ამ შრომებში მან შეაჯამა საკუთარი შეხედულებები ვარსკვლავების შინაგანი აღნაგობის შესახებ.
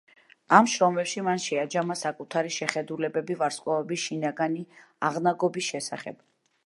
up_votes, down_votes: 2, 0